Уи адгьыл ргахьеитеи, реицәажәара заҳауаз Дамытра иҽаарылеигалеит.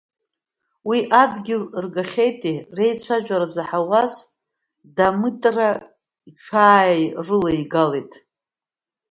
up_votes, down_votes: 1, 2